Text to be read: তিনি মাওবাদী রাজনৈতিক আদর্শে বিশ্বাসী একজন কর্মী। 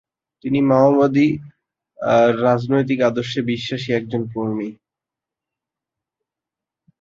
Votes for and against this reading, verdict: 1, 2, rejected